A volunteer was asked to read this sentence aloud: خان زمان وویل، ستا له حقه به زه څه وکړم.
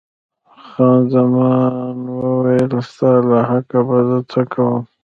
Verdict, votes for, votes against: rejected, 1, 2